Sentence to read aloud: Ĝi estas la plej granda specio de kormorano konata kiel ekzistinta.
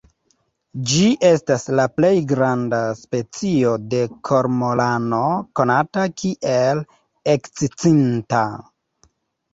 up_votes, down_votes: 0, 2